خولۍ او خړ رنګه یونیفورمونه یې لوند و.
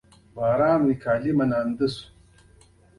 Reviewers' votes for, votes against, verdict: 1, 2, rejected